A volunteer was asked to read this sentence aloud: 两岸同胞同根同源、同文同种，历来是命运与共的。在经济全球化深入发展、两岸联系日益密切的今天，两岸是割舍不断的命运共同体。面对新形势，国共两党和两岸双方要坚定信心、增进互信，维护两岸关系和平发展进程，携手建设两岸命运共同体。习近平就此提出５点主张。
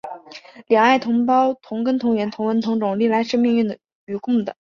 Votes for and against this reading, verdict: 0, 2, rejected